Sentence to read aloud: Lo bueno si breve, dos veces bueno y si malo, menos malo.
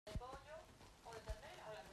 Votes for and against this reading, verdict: 0, 2, rejected